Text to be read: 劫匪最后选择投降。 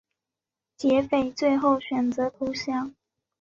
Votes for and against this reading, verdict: 2, 0, accepted